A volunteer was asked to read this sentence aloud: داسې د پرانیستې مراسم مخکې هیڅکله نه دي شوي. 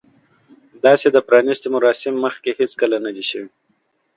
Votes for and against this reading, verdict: 2, 0, accepted